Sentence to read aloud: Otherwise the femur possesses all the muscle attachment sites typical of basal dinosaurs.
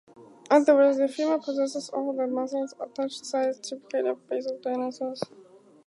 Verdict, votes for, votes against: accepted, 4, 0